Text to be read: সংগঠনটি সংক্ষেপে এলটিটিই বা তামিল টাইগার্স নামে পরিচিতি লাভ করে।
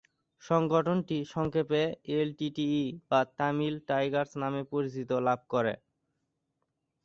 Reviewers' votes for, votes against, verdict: 0, 2, rejected